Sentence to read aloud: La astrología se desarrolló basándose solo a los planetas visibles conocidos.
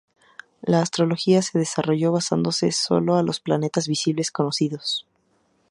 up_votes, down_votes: 2, 0